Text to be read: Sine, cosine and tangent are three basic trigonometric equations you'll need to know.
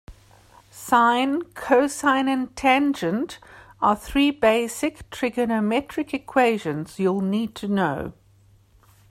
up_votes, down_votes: 2, 0